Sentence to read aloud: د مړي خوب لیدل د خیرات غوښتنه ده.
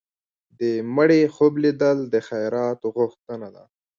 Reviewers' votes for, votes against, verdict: 1, 2, rejected